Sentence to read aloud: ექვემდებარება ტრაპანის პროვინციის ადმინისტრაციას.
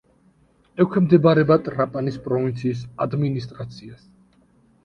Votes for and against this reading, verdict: 2, 0, accepted